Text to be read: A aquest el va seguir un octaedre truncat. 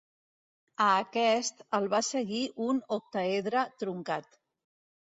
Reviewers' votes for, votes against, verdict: 2, 0, accepted